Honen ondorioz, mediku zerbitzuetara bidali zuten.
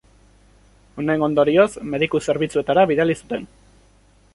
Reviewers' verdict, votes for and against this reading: accepted, 2, 0